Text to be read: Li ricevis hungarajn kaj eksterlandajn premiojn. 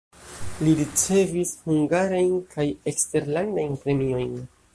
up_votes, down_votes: 2, 0